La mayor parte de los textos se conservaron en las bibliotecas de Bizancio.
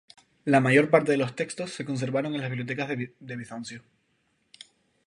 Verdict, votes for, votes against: rejected, 2, 2